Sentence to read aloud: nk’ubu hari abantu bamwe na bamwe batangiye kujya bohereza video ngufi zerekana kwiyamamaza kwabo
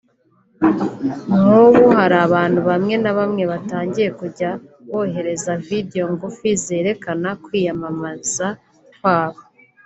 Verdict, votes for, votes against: accepted, 2, 0